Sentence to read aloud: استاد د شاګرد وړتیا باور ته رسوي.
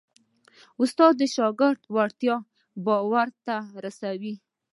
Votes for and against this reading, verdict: 2, 0, accepted